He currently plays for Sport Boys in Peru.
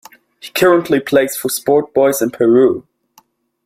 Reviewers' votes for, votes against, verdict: 2, 0, accepted